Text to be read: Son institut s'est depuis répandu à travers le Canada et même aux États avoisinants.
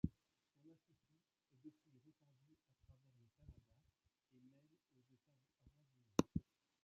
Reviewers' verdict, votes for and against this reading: rejected, 0, 2